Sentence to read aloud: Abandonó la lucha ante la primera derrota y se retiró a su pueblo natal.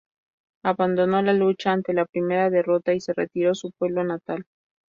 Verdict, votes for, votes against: accepted, 2, 0